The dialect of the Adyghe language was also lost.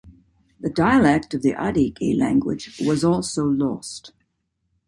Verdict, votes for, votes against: accepted, 2, 0